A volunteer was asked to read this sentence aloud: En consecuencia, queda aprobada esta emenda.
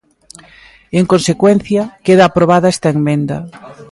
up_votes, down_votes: 1, 2